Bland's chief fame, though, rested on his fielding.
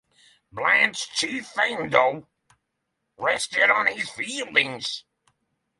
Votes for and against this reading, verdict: 0, 6, rejected